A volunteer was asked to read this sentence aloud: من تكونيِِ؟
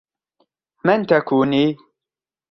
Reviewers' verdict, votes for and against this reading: accepted, 2, 0